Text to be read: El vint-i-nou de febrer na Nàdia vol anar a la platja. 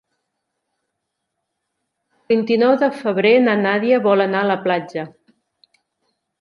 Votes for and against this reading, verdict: 2, 4, rejected